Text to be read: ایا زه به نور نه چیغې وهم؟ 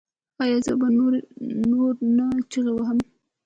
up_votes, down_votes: 0, 2